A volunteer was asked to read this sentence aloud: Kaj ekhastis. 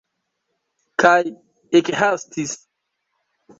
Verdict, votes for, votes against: accepted, 2, 0